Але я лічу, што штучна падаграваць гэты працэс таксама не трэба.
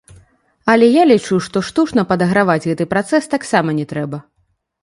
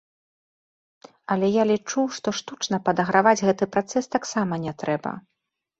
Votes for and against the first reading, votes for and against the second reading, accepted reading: 1, 2, 2, 0, second